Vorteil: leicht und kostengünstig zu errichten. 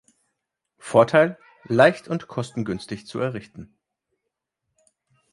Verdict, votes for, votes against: accepted, 2, 0